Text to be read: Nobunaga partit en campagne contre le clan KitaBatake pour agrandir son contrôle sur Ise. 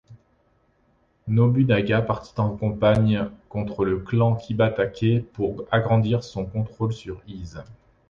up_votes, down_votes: 1, 2